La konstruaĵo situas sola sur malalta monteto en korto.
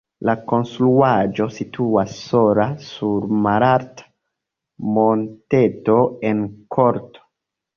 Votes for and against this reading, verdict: 2, 0, accepted